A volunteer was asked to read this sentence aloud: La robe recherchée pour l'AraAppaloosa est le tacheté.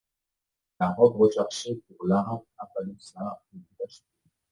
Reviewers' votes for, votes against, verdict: 0, 2, rejected